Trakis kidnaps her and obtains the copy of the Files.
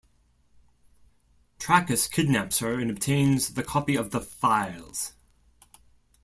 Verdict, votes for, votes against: rejected, 1, 2